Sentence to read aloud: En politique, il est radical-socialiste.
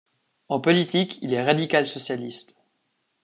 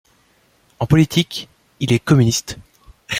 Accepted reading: first